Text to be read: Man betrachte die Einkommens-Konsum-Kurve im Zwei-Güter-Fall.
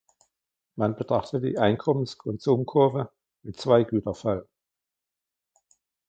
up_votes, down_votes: 1, 2